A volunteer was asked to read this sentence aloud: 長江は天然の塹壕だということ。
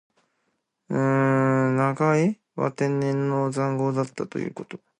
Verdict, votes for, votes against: rejected, 0, 2